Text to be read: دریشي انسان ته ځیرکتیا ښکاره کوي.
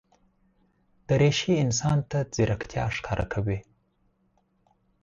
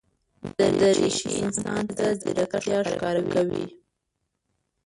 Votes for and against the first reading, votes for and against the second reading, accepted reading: 4, 0, 0, 2, first